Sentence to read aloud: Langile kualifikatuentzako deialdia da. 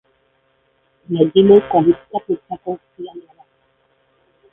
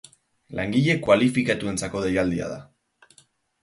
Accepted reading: second